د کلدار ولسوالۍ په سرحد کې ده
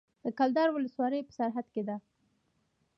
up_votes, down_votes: 2, 1